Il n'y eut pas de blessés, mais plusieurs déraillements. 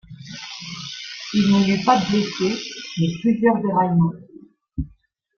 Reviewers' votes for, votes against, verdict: 1, 2, rejected